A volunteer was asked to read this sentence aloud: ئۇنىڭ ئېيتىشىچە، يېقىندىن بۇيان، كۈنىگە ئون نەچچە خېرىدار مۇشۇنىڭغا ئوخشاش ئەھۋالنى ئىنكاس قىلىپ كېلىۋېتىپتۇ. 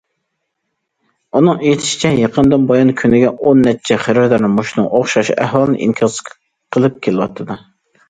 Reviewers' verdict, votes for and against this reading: rejected, 0, 2